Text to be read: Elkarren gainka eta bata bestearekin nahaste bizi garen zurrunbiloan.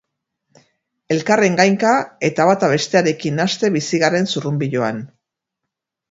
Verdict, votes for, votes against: accepted, 4, 0